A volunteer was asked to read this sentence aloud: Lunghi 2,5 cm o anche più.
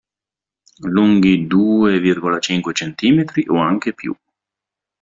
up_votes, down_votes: 0, 2